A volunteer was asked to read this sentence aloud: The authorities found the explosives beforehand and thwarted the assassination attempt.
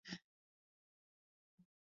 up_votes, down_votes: 0, 2